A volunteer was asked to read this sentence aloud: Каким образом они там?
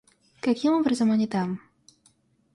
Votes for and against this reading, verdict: 2, 0, accepted